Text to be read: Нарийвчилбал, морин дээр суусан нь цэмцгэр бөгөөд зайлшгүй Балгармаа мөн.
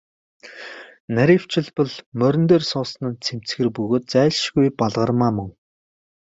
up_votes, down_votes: 2, 0